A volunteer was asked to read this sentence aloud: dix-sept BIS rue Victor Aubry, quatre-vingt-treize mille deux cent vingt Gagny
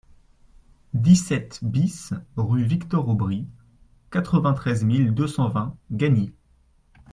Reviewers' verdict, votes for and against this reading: accepted, 2, 0